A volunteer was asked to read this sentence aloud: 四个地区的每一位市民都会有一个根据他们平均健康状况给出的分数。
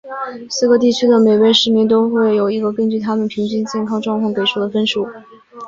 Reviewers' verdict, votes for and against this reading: accepted, 2, 0